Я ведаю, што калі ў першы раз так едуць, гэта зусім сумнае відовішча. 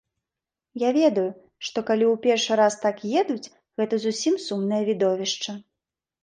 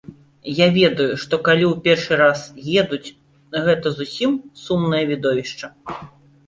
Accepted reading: first